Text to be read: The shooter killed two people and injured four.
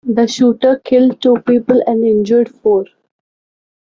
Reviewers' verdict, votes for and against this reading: accepted, 2, 0